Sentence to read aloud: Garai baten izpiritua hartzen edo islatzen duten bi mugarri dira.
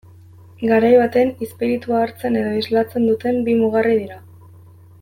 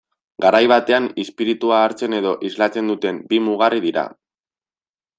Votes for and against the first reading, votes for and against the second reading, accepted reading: 2, 0, 1, 2, first